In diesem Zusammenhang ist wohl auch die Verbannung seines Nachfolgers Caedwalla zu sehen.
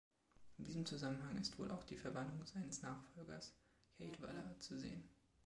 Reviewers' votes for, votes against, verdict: 2, 1, accepted